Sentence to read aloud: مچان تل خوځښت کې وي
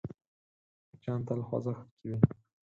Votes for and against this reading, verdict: 2, 4, rejected